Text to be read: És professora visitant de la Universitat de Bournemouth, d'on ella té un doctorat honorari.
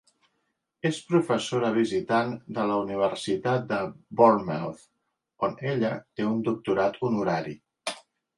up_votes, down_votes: 1, 2